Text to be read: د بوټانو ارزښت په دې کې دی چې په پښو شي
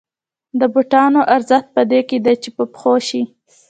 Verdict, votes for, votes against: accepted, 2, 0